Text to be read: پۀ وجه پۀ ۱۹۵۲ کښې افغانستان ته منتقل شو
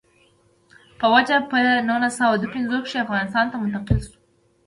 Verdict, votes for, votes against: rejected, 0, 2